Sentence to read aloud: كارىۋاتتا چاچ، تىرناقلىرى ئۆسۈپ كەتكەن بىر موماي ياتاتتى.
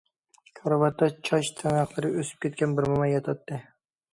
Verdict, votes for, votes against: accepted, 2, 0